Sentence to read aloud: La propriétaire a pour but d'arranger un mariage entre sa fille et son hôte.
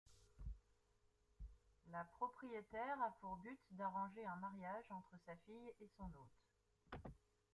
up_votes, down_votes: 1, 2